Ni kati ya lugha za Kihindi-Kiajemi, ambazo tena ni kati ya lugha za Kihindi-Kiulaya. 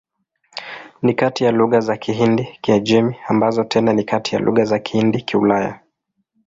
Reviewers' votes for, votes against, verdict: 2, 0, accepted